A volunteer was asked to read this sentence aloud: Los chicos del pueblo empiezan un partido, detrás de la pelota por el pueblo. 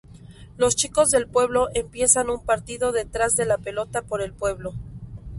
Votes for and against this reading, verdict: 0, 2, rejected